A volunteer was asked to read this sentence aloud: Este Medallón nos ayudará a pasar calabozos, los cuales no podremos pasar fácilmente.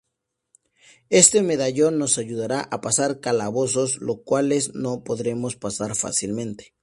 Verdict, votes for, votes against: accepted, 2, 0